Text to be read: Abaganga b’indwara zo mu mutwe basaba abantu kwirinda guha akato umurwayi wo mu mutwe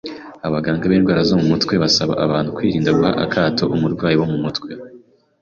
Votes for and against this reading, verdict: 2, 0, accepted